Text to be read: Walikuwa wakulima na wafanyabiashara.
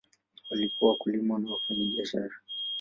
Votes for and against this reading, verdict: 0, 2, rejected